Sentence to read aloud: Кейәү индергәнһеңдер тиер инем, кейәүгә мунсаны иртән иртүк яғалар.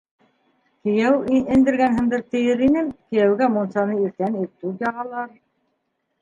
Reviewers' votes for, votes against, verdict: 1, 2, rejected